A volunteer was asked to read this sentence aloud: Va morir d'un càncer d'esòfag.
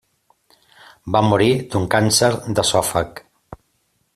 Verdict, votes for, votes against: accepted, 2, 0